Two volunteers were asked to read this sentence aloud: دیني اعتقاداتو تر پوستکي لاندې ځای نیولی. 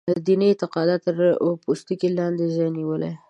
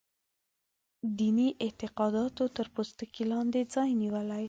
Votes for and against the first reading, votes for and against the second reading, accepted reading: 1, 2, 2, 0, second